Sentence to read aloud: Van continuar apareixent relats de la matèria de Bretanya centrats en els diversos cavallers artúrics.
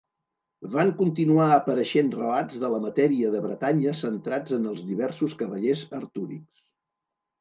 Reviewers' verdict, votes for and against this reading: accepted, 2, 0